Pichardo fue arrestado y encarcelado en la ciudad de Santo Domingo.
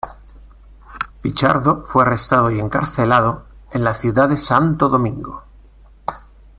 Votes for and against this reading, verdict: 2, 0, accepted